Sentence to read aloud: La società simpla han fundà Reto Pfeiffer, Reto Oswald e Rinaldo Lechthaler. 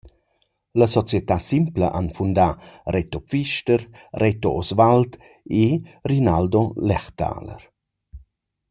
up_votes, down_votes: 0, 2